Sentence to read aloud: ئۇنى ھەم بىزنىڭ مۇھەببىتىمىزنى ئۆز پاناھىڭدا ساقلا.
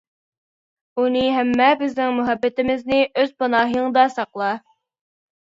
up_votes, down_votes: 0, 2